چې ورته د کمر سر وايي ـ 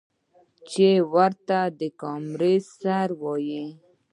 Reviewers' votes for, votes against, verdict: 2, 1, accepted